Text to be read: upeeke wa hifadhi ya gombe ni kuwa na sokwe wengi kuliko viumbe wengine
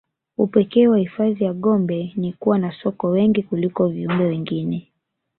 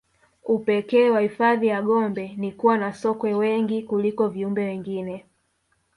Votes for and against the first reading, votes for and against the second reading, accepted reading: 3, 0, 1, 2, first